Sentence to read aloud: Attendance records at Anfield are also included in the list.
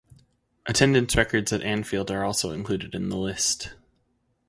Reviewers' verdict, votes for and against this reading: accepted, 4, 0